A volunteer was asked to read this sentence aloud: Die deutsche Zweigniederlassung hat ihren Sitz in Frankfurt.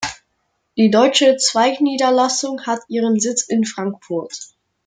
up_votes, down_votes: 2, 0